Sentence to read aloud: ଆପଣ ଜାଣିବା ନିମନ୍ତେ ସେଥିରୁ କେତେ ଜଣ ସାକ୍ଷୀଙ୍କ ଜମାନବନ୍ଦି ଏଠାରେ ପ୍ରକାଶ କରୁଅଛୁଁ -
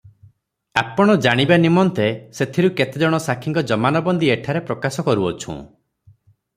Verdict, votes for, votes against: accepted, 3, 0